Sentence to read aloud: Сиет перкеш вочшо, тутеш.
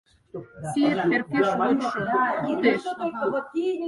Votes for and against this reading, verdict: 0, 4, rejected